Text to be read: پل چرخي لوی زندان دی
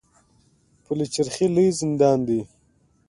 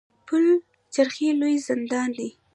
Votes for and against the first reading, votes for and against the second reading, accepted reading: 2, 0, 0, 2, first